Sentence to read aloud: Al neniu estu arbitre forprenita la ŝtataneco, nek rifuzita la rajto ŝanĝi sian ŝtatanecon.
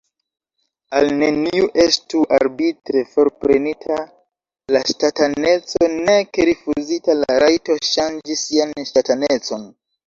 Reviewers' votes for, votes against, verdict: 1, 2, rejected